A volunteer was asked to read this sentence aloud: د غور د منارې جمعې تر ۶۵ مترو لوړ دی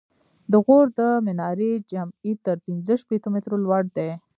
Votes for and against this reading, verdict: 0, 2, rejected